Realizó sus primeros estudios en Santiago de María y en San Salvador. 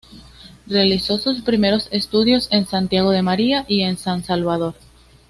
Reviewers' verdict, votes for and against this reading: accepted, 2, 0